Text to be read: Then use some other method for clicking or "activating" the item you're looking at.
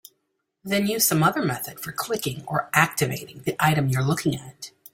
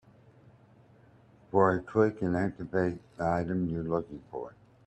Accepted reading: first